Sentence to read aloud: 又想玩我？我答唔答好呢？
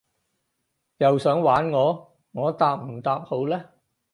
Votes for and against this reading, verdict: 4, 0, accepted